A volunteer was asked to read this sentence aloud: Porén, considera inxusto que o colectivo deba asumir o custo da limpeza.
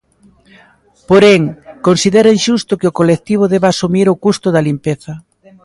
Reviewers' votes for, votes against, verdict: 0, 2, rejected